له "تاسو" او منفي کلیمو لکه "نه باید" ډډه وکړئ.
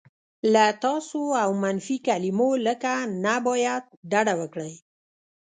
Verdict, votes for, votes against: rejected, 0, 2